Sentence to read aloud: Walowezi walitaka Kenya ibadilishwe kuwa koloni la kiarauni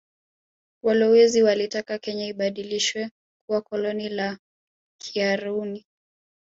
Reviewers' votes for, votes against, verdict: 3, 0, accepted